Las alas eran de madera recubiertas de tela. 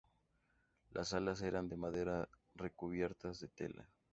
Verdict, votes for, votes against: accepted, 4, 0